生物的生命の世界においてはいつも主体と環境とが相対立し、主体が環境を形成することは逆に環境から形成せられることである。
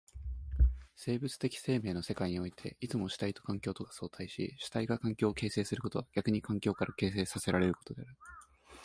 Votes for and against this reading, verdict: 2, 0, accepted